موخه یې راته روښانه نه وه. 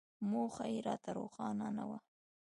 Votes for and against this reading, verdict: 0, 2, rejected